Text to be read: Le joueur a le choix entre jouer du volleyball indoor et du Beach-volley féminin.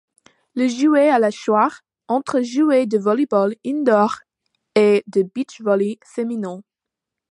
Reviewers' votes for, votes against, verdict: 2, 1, accepted